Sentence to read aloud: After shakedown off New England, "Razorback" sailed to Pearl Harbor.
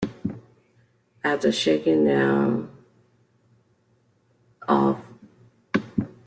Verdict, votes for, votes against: rejected, 0, 2